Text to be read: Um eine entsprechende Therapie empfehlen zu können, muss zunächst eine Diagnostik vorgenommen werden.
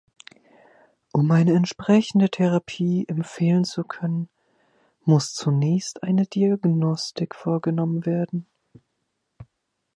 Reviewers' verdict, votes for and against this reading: accepted, 3, 0